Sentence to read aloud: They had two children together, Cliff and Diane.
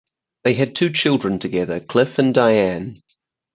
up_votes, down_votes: 4, 0